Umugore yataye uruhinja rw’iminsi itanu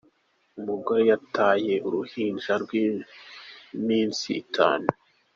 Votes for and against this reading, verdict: 2, 1, accepted